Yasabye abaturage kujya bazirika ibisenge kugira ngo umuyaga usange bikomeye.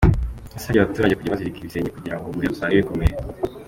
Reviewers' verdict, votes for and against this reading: accepted, 3, 1